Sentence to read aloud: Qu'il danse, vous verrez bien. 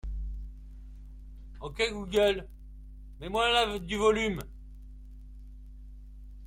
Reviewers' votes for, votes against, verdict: 0, 2, rejected